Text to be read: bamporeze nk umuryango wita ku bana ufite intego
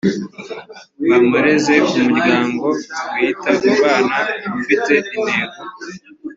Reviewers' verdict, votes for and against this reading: accepted, 2, 0